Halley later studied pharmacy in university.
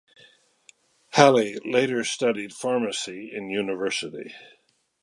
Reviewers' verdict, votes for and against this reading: accepted, 2, 0